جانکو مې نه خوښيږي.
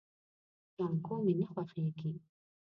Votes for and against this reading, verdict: 0, 2, rejected